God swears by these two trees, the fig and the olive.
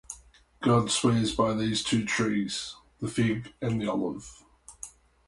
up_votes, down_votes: 4, 0